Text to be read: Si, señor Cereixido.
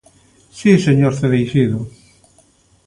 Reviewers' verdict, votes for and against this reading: accepted, 2, 0